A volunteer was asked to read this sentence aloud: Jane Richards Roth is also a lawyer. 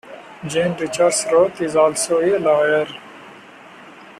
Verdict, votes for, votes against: accepted, 2, 0